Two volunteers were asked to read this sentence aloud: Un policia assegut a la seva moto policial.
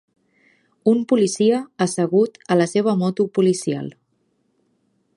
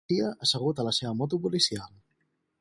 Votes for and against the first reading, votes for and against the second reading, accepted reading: 3, 0, 2, 4, first